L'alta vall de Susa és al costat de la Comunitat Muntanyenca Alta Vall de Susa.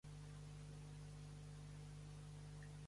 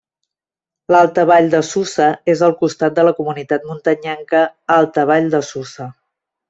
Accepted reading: second